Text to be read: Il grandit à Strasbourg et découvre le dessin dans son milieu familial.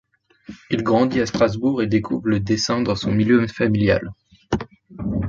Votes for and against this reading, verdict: 1, 2, rejected